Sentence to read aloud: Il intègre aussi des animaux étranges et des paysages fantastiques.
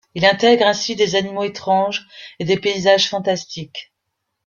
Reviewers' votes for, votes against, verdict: 0, 2, rejected